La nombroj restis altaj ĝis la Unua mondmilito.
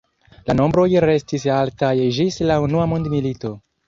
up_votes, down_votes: 1, 2